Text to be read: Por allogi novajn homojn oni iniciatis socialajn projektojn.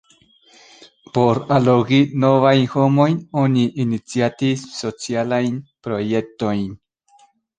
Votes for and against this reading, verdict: 1, 2, rejected